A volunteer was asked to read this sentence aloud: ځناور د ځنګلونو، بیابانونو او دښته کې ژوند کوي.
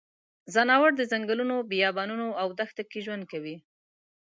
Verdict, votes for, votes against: accepted, 2, 0